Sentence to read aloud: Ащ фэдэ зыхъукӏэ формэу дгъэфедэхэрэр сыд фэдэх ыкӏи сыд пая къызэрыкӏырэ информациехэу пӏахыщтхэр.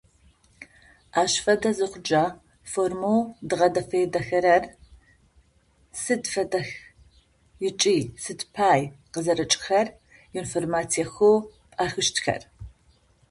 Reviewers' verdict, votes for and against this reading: rejected, 0, 2